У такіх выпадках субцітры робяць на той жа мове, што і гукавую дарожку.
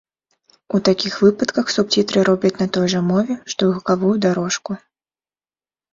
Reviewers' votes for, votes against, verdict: 2, 0, accepted